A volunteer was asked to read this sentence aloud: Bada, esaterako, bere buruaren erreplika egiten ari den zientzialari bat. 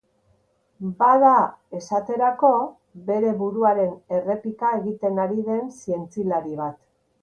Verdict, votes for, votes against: rejected, 1, 2